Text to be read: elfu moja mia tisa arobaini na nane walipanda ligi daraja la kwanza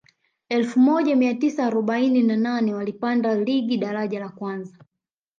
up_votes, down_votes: 2, 0